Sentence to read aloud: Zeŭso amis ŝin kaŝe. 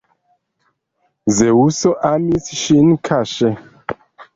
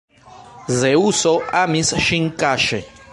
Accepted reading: second